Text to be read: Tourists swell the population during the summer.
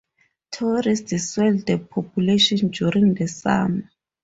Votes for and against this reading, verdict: 4, 2, accepted